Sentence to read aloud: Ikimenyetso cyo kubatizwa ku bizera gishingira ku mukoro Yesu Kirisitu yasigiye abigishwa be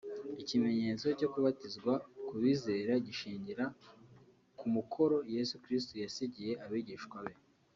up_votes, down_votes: 3, 0